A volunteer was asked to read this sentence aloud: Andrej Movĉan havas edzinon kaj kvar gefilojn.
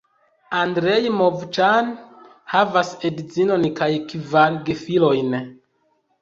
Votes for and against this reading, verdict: 1, 2, rejected